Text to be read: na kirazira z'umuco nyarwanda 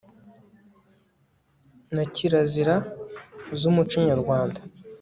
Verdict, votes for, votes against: accepted, 2, 0